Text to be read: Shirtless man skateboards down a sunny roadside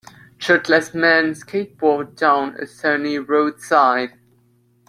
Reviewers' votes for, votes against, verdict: 2, 0, accepted